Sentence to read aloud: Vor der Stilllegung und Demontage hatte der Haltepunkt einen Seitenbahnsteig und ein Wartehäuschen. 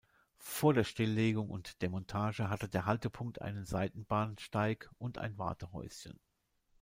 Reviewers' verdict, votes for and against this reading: accepted, 2, 0